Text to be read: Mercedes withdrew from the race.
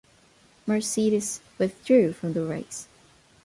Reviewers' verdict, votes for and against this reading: accepted, 2, 0